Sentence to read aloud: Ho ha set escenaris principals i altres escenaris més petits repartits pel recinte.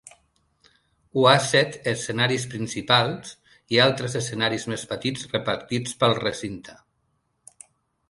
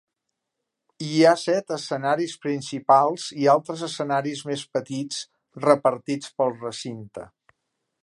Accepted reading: first